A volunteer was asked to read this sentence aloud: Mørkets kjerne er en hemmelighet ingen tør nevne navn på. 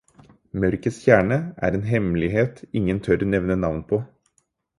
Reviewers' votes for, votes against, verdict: 4, 0, accepted